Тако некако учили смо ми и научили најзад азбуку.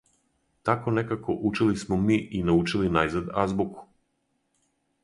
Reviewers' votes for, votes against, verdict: 4, 0, accepted